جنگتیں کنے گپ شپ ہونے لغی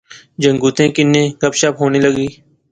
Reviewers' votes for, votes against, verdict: 2, 0, accepted